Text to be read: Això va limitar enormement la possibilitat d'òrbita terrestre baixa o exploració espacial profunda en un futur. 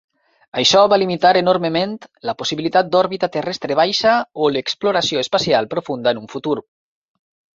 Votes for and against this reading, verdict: 2, 4, rejected